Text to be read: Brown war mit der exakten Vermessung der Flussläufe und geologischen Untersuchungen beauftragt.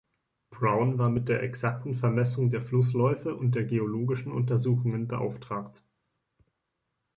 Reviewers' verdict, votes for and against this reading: accepted, 2, 1